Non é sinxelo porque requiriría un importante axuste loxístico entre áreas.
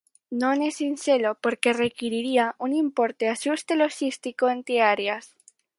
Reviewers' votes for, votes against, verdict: 0, 4, rejected